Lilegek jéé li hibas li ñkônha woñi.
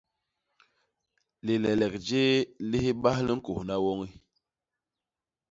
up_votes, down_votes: 1, 2